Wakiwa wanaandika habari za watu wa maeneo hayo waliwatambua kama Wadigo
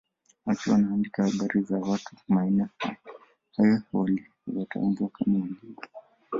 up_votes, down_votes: 1, 2